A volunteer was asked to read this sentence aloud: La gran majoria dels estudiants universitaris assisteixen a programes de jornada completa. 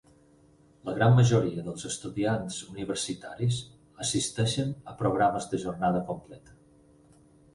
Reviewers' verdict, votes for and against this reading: accepted, 6, 0